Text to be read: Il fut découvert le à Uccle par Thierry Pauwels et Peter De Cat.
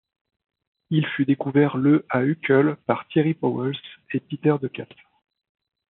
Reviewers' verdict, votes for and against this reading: accepted, 2, 0